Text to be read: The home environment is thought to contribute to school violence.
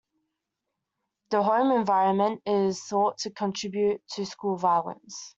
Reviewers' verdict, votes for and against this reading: accepted, 2, 1